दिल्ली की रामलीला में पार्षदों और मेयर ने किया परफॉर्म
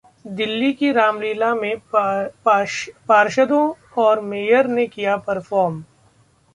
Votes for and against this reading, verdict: 0, 2, rejected